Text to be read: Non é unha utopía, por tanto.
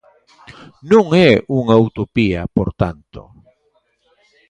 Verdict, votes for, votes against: rejected, 1, 2